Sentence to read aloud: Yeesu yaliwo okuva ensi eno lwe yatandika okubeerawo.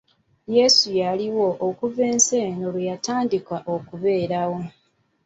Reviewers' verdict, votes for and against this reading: accepted, 2, 0